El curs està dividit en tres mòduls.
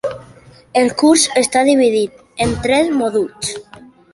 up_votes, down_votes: 2, 1